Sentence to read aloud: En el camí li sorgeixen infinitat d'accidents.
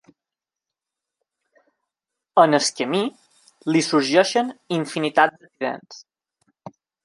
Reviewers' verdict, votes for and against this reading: rejected, 1, 2